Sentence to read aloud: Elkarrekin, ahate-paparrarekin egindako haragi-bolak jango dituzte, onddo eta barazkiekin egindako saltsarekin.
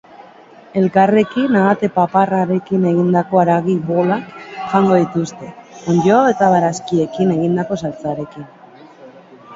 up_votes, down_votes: 1, 2